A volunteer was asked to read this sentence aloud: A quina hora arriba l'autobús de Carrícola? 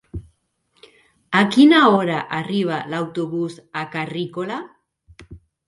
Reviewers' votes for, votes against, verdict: 0, 3, rejected